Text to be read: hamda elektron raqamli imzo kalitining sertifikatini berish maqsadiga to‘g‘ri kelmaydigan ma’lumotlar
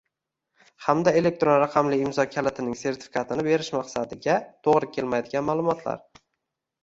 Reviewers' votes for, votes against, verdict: 0, 2, rejected